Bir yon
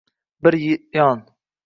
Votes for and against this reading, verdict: 0, 2, rejected